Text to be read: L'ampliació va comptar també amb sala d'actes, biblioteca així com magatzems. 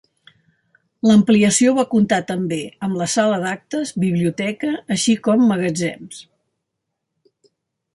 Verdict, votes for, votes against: rejected, 1, 2